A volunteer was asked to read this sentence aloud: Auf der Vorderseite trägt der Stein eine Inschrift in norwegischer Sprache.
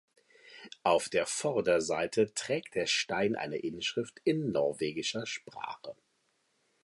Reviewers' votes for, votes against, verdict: 2, 0, accepted